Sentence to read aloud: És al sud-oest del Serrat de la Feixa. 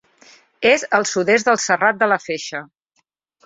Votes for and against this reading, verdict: 2, 1, accepted